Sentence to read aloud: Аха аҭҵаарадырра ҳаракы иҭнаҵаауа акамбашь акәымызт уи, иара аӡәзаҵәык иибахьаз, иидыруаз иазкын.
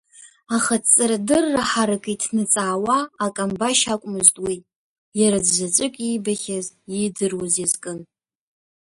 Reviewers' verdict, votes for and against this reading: rejected, 1, 2